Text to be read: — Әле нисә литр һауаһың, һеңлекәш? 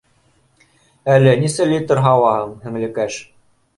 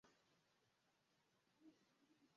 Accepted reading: first